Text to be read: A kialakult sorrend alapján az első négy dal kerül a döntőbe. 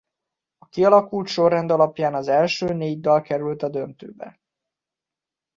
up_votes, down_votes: 2, 0